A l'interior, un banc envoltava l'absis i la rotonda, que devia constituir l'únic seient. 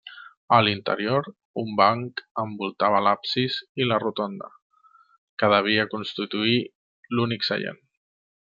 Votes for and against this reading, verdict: 1, 2, rejected